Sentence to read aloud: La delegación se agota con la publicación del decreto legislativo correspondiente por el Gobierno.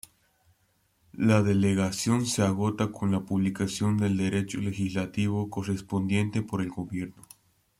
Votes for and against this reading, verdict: 1, 2, rejected